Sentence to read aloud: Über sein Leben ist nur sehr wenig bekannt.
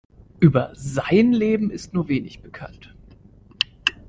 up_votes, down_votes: 0, 2